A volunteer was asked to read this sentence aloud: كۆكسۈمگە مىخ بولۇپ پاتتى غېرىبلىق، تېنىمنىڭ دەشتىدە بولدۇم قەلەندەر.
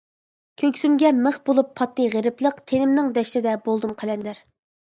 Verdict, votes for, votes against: accepted, 2, 0